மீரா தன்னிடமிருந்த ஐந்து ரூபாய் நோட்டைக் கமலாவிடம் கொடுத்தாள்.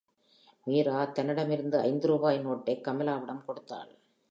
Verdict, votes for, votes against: accepted, 2, 0